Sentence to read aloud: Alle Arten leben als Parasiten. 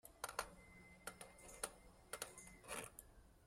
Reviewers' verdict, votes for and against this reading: rejected, 1, 2